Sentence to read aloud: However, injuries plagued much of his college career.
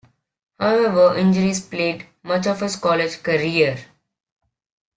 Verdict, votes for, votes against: accepted, 2, 0